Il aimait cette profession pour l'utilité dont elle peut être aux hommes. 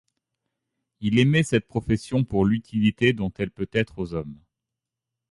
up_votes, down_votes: 2, 0